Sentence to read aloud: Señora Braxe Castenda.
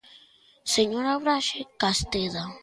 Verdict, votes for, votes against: rejected, 0, 2